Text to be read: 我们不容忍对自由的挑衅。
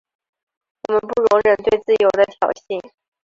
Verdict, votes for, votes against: rejected, 2, 2